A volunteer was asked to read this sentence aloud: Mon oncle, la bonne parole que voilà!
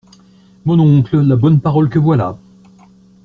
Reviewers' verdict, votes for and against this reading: accepted, 2, 0